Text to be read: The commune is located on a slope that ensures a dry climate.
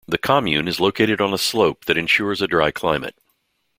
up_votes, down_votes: 2, 0